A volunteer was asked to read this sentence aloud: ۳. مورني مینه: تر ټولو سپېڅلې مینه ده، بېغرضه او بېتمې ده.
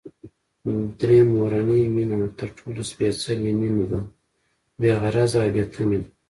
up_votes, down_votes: 0, 2